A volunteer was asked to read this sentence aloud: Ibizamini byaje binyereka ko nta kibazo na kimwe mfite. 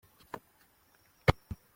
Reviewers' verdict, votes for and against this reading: rejected, 0, 2